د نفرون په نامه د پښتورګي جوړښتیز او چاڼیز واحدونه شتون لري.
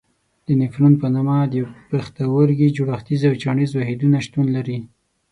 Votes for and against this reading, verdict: 3, 6, rejected